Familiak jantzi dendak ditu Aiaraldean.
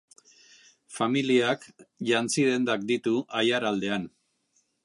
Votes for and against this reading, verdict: 2, 0, accepted